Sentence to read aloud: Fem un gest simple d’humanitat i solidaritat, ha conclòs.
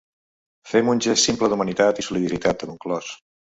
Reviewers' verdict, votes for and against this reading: rejected, 0, 2